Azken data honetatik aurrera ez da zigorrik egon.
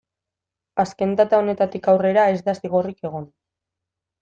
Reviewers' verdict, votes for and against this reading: accepted, 2, 0